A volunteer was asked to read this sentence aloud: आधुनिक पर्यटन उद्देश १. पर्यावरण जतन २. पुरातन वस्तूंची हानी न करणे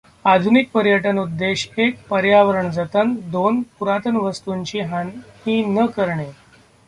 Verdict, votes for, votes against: rejected, 0, 2